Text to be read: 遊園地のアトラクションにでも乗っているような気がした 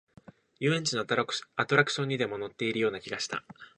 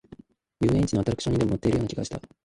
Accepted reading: first